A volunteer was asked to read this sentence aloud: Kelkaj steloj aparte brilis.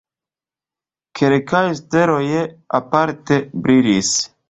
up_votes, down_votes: 1, 2